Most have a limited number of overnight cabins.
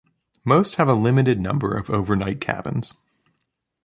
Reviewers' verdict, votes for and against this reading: accepted, 2, 0